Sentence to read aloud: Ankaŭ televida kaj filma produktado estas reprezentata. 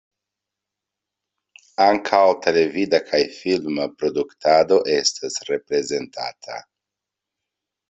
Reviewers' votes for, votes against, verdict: 2, 0, accepted